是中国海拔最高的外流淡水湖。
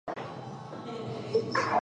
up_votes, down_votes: 1, 4